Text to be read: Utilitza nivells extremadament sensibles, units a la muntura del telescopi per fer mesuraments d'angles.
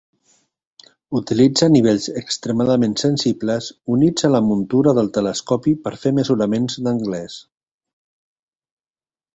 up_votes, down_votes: 0, 2